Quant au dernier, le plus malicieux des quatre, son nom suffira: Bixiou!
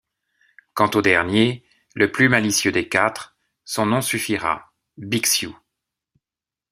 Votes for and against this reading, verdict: 2, 0, accepted